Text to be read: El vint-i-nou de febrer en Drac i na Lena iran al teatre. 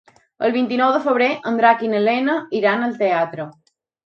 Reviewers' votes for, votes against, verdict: 4, 0, accepted